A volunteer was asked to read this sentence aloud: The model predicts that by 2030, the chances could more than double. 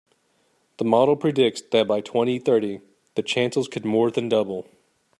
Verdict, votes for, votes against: rejected, 0, 2